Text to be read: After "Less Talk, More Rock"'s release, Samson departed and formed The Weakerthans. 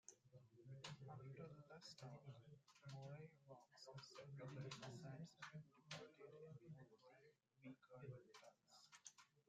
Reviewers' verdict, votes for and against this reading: rejected, 0, 2